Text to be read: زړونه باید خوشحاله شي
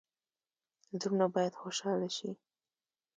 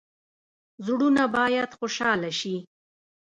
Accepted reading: first